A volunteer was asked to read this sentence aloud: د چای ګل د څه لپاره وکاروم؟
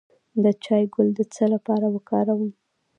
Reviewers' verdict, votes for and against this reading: accepted, 2, 1